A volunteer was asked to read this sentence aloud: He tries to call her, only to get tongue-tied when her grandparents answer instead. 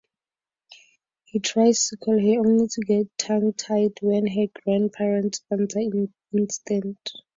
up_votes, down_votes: 0, 4